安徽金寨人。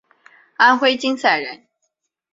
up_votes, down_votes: 5, 0